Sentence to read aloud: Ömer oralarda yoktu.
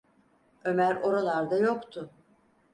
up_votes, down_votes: 4, 0